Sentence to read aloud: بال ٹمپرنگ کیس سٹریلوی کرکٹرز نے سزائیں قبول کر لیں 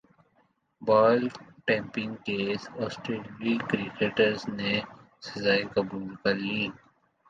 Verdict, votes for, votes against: rejected, 1, 2